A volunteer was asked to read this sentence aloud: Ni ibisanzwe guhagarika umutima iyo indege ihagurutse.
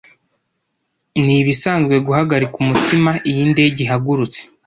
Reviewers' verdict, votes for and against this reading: accepted, 2, 0